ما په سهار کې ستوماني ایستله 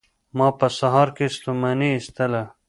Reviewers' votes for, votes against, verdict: 1, 2, rejected